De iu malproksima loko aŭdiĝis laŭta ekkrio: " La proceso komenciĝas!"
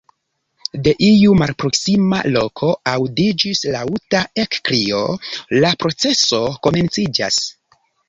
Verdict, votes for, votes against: rejected, 1, 2